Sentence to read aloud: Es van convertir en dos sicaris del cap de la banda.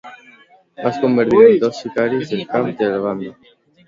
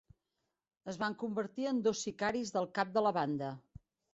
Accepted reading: second